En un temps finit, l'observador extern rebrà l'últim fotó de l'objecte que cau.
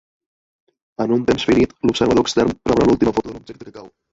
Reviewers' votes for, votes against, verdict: 0, 2, rejected